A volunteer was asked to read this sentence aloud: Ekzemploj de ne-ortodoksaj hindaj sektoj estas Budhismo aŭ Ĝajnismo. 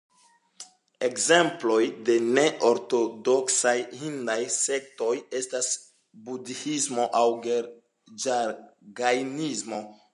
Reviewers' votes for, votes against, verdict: 0, 2, rejected